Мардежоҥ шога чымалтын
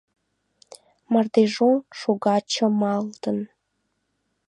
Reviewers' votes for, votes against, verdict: 2, 0, accepted